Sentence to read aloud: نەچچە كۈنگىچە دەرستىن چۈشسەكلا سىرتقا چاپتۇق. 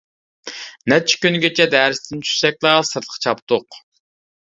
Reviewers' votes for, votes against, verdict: 2, 0, accepted